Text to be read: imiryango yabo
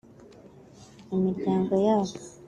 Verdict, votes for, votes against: accepted, 2, 0